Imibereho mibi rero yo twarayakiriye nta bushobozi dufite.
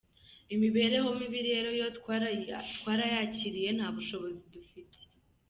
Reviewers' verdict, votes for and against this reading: rejected, 2, 3